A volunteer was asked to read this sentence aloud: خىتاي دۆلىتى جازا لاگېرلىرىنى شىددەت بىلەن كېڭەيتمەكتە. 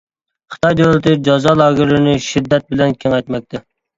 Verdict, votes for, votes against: accepted, 2, 1